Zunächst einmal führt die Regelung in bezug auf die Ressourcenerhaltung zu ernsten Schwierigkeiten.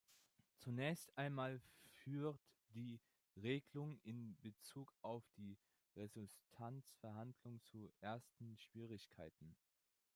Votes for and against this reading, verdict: 0, 2, rejected